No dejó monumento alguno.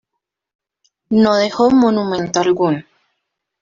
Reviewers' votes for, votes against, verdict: 1, 2, rejected